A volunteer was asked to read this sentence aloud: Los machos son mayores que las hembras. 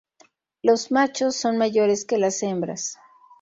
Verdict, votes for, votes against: accepted, 4, 0